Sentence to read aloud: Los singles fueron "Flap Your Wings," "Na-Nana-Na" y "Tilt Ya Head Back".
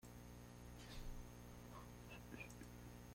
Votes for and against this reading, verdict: 0, 2, rejected